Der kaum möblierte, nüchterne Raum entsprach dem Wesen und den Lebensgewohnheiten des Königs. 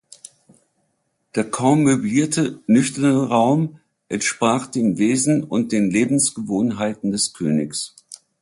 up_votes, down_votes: 2, 0